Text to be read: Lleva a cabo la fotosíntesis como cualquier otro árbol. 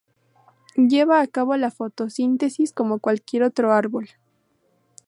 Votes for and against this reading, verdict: 2, 0, accepted